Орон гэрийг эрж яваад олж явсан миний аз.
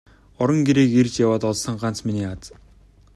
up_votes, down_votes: 0, 2